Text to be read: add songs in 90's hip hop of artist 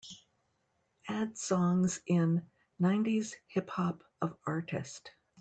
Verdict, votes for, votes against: rejected, 0, 2